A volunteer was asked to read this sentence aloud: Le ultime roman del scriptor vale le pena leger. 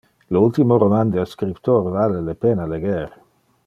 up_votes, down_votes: 2, 0